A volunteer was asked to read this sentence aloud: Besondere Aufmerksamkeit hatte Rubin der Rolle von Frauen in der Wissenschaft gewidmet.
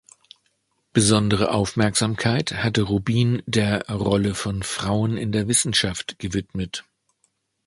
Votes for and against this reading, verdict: 2, 0, accepted